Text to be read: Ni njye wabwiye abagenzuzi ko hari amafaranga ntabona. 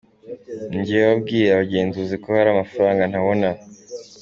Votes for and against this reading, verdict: 2, 0, accepted